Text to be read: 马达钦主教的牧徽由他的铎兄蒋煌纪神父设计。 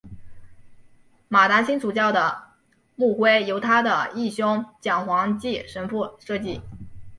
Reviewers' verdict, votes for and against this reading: rejected, 1, 2